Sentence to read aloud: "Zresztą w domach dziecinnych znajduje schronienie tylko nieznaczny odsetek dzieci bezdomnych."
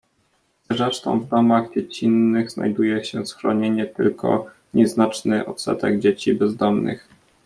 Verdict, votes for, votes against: rejected, 0, 2